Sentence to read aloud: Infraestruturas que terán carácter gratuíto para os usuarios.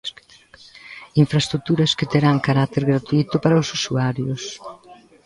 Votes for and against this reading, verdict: 1, 2, rejected